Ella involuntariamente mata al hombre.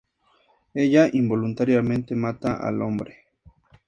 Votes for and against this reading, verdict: 2, 0, accepted